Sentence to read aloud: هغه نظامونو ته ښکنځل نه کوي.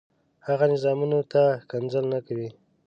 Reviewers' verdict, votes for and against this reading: rejected, 0, 2